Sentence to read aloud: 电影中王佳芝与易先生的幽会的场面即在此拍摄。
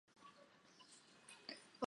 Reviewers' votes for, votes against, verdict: 1, 3, rejected